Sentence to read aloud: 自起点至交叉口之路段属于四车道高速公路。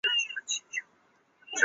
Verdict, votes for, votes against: rejected, 2, 4